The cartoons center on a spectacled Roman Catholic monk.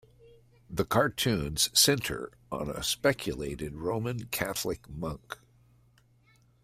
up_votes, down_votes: 0, 2